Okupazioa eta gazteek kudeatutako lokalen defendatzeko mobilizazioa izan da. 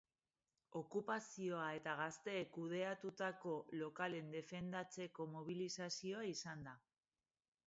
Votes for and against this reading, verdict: 1, 2, rejected